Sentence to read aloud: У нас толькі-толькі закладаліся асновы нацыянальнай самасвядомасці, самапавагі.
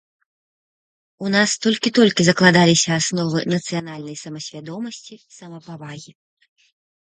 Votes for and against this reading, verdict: 2, 0, accepted